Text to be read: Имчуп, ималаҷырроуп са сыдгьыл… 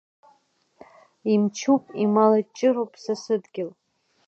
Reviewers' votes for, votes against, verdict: 3, 1, accepted